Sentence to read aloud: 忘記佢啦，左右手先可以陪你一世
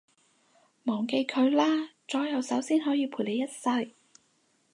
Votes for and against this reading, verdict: 4, 0, accepted